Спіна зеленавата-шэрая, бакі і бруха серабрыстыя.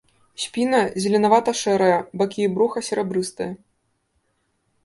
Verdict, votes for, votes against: accepted, 2, 0